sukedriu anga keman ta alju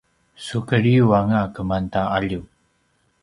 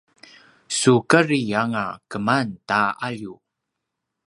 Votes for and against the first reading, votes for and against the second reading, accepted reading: 2, 0, 3, 5, first